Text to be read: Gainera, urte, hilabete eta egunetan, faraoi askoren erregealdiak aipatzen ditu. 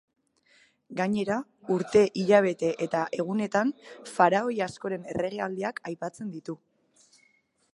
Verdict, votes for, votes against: accepted, 2, 0